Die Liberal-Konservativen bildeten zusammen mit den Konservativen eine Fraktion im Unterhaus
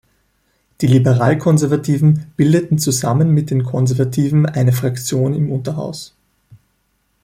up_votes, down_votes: 2, 0